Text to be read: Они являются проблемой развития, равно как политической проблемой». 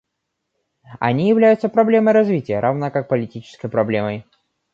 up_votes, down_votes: 2, 0